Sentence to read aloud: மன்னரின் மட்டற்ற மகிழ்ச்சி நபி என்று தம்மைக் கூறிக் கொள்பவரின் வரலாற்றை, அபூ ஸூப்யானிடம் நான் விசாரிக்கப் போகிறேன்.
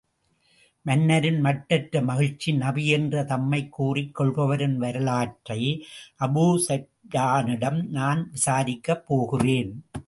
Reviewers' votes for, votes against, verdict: 1, 2, rejected